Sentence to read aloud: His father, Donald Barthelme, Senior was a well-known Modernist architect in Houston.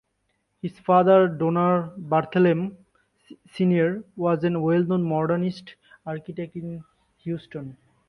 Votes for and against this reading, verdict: 1, 2, rejected